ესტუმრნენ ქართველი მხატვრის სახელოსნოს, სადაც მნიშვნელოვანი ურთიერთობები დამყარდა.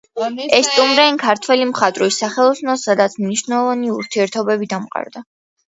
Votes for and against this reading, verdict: 2, 1, accepted